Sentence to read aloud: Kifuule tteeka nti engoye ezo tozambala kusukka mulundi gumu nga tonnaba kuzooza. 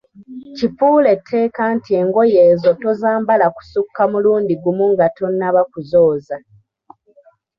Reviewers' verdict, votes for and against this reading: accepted, 2, 1